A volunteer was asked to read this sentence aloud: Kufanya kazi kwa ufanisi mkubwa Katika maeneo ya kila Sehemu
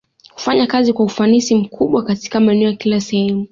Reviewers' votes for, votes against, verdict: 2, 0, accepted